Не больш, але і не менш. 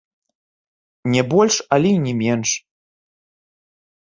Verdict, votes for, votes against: accepted, 2, 0